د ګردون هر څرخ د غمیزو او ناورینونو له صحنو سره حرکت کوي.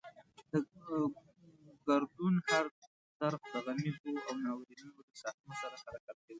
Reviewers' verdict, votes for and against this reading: rejected, 0, 2